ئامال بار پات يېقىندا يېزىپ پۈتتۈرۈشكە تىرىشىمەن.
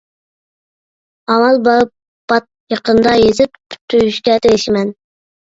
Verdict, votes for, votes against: rejected, 1, 2